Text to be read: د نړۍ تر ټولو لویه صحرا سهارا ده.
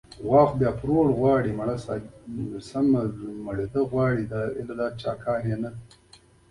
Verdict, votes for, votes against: rejected, 0, 2